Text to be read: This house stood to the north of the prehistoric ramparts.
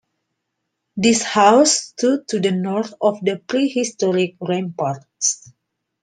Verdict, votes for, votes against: accepted, 2, 0